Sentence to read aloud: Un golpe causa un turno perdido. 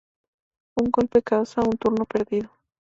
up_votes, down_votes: 2, 0